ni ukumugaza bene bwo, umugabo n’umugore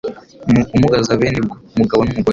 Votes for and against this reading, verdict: 2, 0, accepted